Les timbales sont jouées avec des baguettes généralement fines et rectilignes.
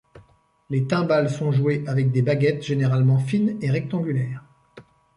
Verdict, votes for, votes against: rejected, 0, 2